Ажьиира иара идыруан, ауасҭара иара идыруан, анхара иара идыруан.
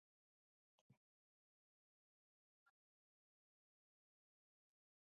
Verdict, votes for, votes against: rejected, 1, 2